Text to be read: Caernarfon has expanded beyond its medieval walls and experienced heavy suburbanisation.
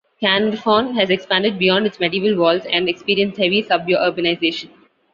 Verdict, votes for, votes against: rejected, 1, 2